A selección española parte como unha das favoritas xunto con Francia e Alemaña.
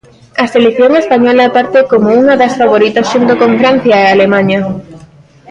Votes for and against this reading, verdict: 2, 0, accepted